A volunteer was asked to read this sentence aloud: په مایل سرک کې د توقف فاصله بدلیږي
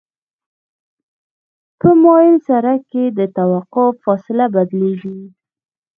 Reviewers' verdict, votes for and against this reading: rejected, 0, 2